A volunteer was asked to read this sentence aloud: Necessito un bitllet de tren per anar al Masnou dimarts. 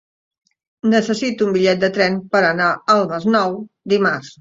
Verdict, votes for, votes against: accepted, 2, 0